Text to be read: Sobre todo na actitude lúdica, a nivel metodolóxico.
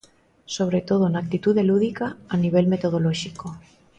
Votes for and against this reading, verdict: 2, 0, accepted